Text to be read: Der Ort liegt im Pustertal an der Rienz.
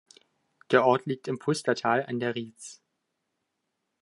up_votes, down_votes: 2, 1